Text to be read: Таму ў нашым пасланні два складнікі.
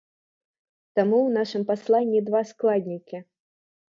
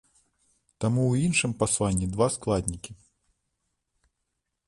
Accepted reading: first